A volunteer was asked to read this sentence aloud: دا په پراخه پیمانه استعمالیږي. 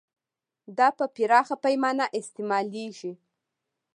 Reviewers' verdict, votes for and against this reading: accepted, 2, 0